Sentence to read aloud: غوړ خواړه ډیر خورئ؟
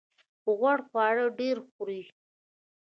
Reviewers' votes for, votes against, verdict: 1, 2, rejected